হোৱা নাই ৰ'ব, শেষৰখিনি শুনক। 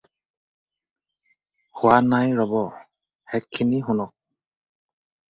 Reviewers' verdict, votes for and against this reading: rejected, 0, 4